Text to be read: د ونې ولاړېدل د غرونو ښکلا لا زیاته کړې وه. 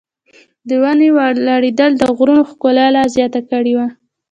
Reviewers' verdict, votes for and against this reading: rejected, 0, 2